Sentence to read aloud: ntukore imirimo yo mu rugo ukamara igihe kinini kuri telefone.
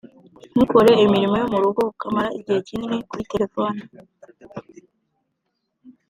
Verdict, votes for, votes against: accepted, 2, 0